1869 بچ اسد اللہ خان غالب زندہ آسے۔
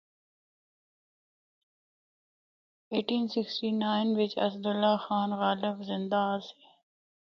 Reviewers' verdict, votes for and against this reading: rejected, 0, 2